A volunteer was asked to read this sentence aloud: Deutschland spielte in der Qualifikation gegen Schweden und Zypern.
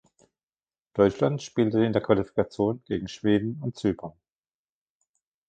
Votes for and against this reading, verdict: 0, 2, rejected